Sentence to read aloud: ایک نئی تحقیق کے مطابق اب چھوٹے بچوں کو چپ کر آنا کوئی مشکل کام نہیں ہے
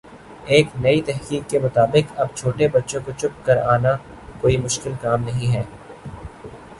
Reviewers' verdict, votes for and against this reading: accepted, 2, 1